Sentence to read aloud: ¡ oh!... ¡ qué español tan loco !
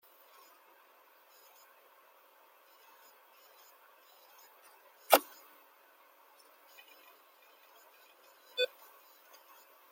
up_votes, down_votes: 0, 2